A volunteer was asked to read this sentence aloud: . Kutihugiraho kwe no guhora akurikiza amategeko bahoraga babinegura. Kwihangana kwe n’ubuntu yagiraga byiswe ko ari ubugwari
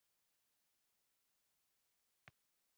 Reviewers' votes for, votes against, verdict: 1, 2, rejected